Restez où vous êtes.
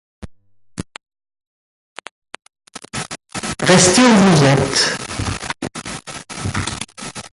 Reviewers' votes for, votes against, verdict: 0, 2, rejected